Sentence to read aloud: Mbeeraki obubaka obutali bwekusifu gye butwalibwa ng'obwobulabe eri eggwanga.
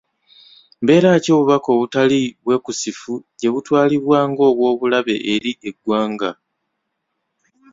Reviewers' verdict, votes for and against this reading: rejected, 0, 2